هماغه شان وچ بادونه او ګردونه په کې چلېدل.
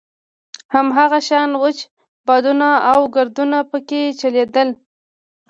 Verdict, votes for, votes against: accepted, 2, 0